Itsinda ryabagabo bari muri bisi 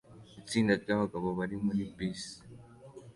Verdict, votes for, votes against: accepted, 2, 0